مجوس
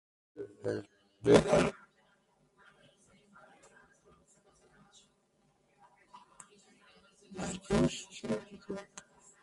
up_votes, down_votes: 0, 2